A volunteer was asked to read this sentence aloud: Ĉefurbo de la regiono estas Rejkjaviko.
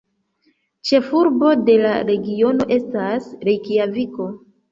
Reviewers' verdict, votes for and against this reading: rejected, 1, 2